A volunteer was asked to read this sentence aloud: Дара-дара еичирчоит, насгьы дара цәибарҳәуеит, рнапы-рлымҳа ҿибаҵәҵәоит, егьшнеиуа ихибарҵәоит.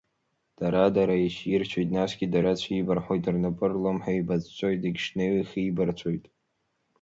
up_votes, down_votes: 1, 2